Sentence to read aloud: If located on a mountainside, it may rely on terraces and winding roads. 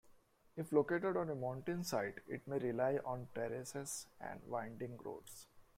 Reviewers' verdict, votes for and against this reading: accepted, 2, 0